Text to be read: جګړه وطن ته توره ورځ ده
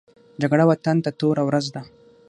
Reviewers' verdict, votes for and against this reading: accepted, 6, 0